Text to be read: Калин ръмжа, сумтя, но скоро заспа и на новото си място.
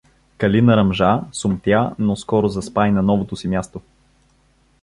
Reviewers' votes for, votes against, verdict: 2, 0, accepted